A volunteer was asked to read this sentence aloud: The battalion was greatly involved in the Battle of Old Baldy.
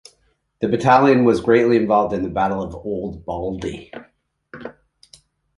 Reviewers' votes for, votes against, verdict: 2, 0, accepted